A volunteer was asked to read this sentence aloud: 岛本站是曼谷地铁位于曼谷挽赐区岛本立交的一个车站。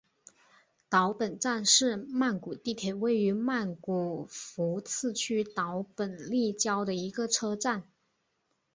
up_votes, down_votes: 0, 2